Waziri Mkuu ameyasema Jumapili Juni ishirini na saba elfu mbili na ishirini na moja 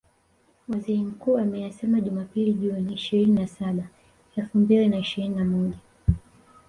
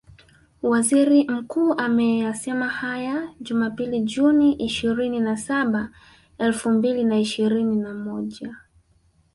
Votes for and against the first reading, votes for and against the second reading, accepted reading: 2, 0, 2, 3, first